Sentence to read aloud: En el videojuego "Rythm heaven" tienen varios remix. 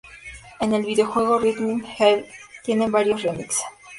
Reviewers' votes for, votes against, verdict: 0, 2, rejected